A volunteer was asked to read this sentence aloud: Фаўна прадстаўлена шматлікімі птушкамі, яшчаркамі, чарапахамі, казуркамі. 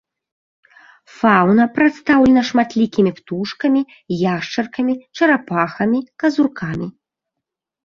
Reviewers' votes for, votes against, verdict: 0, 2, rejected